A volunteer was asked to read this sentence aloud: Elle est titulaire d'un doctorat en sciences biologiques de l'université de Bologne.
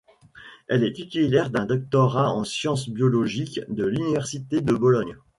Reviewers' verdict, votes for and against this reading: rejected, 1, 2